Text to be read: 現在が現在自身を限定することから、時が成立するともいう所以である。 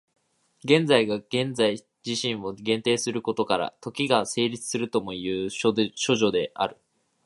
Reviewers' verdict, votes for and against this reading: rejected, 2, 3